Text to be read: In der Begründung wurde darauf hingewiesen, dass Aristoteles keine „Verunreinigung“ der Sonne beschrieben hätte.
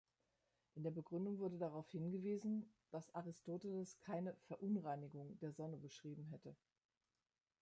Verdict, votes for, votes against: accepted, 2, 0